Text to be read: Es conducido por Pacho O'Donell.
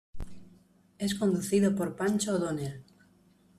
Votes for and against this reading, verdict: 1, 2, rejected